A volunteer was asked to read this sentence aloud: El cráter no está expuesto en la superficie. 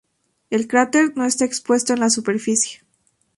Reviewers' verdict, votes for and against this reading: accepted, 2, 0